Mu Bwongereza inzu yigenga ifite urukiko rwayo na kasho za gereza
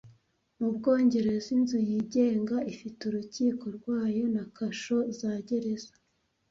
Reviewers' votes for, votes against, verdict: 2, 0, accepted